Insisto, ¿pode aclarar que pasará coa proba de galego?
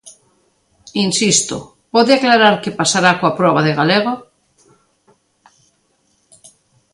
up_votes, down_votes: 2, 1